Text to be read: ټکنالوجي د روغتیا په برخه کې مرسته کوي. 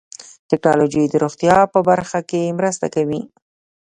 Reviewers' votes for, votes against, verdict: 2, 1, accepted